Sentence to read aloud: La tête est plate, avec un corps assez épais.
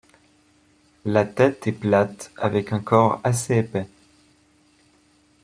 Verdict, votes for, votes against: accepted, 2, 0